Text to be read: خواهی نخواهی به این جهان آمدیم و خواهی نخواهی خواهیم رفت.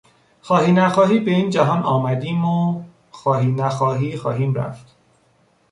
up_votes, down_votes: 2, 0